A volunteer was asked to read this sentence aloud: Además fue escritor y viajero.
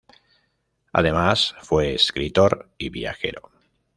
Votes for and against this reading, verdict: 2, 0, accepted